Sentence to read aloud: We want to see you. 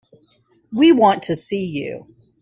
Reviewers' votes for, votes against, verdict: 3, 0, accepted